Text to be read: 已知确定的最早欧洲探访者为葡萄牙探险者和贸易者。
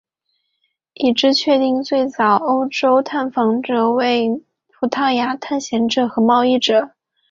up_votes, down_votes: 0, 2